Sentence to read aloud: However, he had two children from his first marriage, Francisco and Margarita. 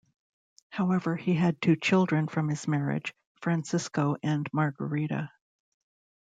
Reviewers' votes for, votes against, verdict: 1, 2, rejected